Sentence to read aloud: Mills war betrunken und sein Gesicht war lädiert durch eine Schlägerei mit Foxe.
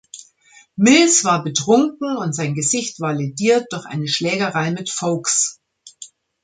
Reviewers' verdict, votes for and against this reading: rejected, 0, 2